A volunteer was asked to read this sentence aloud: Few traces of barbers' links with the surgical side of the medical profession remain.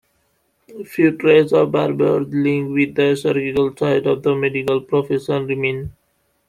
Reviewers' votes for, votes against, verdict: 1, 2, rejected